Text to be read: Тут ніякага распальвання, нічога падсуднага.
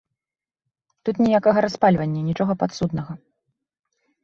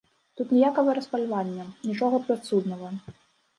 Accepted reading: first